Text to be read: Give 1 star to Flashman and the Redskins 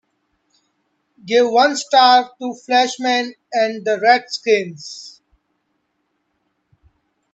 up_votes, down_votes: 0, 2